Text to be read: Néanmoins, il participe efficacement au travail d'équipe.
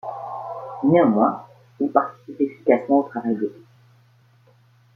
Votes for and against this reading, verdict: 2, 0, accepted